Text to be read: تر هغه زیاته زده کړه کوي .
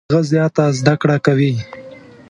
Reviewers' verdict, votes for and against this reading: rejected, 1, 2